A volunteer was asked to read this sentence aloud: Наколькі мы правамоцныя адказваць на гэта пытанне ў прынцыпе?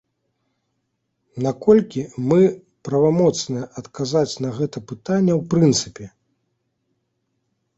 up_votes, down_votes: 1, 2